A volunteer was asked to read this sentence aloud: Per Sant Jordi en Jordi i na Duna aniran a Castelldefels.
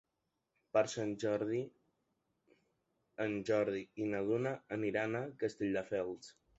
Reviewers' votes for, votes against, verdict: 2, 1, accepted